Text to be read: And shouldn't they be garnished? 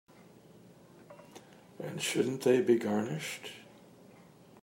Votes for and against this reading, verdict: 2, 0, accepted